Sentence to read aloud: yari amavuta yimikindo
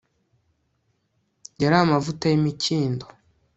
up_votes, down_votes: 2, 0